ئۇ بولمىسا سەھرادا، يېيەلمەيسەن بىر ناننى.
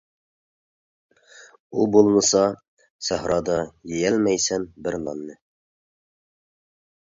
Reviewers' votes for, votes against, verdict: 2, 0, accepted